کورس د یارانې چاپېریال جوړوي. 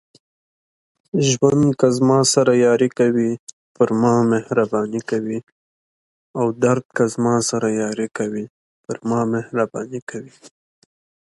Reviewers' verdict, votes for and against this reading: rejected, 0, 2